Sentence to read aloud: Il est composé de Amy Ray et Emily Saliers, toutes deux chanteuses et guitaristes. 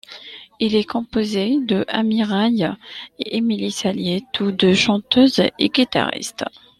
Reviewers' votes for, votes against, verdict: 2, 0, accepted